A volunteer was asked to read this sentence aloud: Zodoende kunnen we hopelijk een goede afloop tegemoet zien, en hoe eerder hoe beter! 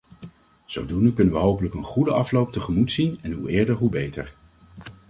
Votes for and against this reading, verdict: 2, 0, accepted